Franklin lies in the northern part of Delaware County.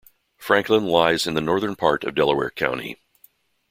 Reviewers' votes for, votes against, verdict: 2, 0, accepted